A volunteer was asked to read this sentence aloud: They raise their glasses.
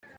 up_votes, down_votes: 0, 2